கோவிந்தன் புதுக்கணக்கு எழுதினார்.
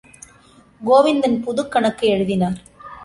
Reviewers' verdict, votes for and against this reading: accepted, 2, 0